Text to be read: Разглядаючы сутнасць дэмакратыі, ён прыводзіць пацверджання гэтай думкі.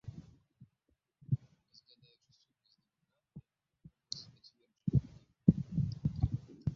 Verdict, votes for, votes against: rejected, 0, 3